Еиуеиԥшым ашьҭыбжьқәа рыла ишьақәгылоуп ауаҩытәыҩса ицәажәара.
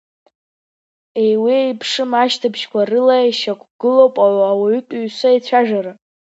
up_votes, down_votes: 2, 1